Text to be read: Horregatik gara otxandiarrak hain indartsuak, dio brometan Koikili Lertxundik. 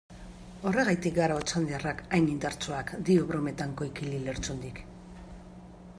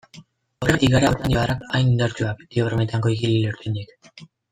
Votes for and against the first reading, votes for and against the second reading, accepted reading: 2, 0, 0, 2, first